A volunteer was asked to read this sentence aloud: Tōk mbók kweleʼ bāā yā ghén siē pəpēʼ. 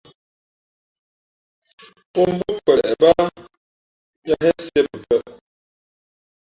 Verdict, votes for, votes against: rejected, 0, 2